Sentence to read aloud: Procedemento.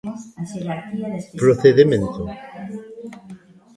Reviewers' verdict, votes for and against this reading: accepted, 2, 0